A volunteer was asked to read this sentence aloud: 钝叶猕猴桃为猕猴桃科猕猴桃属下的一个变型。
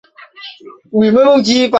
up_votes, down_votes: 0, 7